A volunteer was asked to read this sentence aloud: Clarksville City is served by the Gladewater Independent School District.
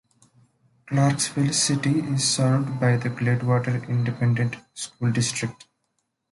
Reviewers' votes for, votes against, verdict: 2, 1, accepted